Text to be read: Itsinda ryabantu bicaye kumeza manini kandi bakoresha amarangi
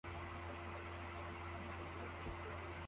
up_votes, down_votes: 0, 2